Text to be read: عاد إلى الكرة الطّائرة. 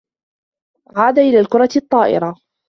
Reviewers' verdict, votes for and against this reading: rejected, 1, 2